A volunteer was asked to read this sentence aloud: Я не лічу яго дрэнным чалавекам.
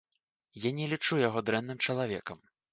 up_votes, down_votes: 2, 0